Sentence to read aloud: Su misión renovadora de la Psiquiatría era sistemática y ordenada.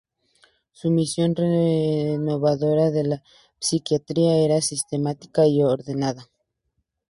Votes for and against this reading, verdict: 0, 2, rejected